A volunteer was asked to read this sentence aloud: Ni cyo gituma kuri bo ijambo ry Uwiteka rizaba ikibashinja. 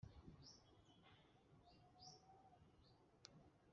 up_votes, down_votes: 0, 2